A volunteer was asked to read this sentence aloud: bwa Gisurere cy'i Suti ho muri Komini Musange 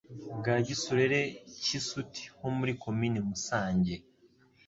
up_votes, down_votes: 3, 0